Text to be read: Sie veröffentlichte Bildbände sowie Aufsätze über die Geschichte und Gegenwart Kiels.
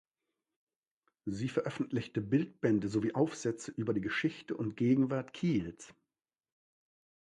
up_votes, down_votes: 2, 0